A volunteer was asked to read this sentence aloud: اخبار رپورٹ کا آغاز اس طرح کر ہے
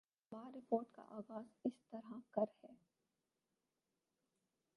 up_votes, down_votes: 2, 4